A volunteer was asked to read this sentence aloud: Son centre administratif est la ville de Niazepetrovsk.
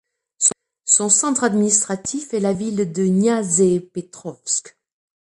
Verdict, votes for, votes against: accepted, 2, 1